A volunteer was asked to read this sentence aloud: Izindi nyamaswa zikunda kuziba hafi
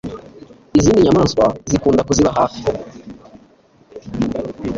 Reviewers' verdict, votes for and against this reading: rejected, 1, 2